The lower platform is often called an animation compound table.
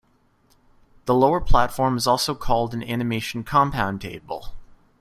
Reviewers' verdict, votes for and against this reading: rejected, 0, 2